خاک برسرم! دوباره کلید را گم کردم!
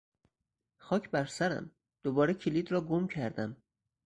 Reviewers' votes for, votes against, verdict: 4, 0, accepted